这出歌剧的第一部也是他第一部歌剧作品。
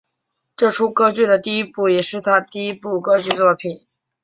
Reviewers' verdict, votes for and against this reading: accepted, 4, 0